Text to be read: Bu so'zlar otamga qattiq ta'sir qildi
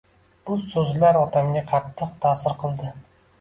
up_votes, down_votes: 2, 0